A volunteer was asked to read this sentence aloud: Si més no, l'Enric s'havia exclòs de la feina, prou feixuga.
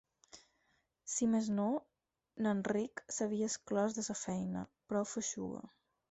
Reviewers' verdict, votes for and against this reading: rejected, 0, 4